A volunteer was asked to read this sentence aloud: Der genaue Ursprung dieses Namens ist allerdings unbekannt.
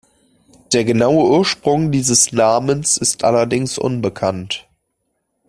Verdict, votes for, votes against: accepted, 2, 0